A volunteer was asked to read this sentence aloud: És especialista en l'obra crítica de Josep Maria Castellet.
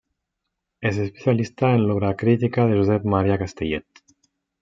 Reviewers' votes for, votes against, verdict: 1, 2, rejected